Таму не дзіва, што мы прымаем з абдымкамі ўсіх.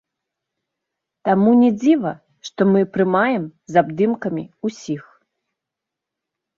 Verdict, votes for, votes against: accepted, 3, 0